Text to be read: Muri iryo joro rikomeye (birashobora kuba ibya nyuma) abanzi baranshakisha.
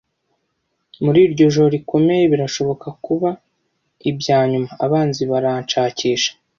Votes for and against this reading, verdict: 1, 2, rejected